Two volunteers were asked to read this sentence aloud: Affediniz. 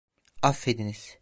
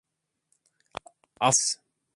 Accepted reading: first